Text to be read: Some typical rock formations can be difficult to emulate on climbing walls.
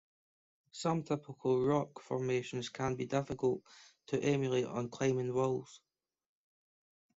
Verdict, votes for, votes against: rejected, 1, 2